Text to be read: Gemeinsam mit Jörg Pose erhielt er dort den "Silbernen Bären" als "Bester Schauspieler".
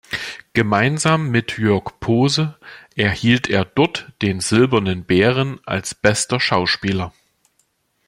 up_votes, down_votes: 2, 0